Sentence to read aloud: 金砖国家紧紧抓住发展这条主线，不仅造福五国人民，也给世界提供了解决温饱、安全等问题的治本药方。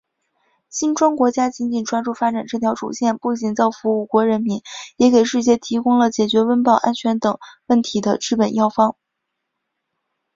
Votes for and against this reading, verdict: 2, 0, accepted